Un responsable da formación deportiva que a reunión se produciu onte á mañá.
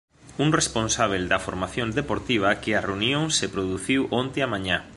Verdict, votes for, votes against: rejected, 1, 2